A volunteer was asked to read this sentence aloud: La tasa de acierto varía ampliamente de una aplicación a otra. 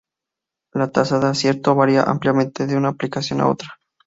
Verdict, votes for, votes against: accepted, 2, 0